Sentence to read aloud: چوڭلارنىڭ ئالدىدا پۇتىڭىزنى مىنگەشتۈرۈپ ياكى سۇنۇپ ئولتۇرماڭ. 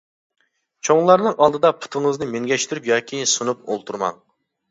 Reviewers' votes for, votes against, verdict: 2, 0, accepted